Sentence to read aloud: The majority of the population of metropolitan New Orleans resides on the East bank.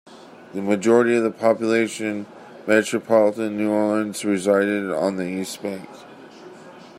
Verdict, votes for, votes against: rejected, 0, 2